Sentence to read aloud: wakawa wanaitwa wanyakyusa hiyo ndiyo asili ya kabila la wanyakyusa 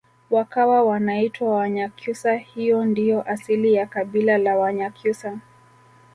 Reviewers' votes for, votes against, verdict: 2, 1, accepted